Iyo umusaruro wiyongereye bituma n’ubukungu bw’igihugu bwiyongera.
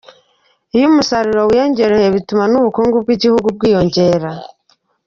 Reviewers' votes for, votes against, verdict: 0, 2, rejected